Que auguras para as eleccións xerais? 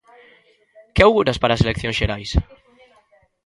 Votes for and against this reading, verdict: 2, 1, accepted